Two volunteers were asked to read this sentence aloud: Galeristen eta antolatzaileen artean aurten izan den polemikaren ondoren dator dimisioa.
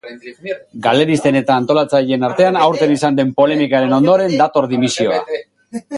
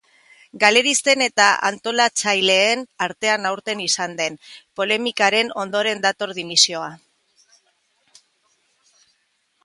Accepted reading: second